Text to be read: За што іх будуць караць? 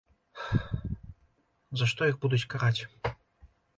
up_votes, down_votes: 2, 0